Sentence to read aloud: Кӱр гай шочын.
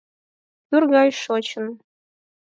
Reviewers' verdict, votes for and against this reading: accepted, 8, 0